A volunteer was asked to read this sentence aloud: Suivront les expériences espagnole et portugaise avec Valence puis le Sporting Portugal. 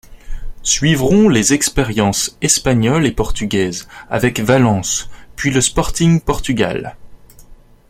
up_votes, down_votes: 2, 0